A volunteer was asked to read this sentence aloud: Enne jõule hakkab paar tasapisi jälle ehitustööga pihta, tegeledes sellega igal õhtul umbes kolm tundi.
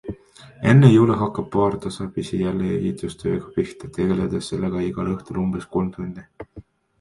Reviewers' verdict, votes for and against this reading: accepted, 2, 0